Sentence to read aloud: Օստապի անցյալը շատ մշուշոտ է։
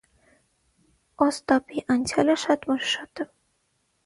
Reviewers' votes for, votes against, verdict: 6, 0, accepted